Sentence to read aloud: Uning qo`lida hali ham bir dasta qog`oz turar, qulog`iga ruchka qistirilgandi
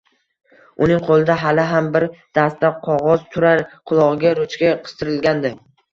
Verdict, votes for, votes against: rejected, 0, 2